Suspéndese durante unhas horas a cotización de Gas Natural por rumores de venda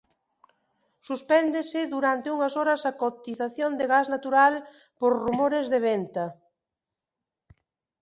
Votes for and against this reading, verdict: 0, 2, rejected